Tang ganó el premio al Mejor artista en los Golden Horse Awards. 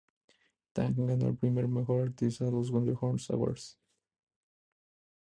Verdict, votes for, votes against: accepted, 2, 0